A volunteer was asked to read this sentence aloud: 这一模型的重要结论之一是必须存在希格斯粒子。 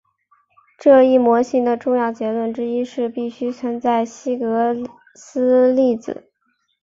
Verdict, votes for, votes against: accepted, 2, 0